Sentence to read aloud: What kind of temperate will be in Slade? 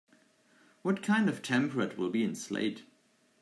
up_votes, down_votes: 2, 0